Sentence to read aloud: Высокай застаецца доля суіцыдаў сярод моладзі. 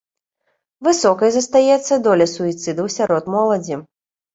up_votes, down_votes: 2, 0